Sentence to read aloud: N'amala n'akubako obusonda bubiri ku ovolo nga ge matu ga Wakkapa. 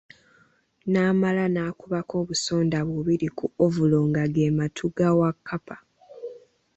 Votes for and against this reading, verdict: 2, 0, accepted